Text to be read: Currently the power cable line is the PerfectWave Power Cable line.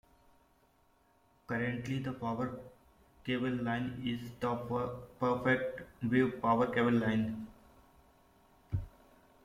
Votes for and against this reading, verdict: 0, 2, rejected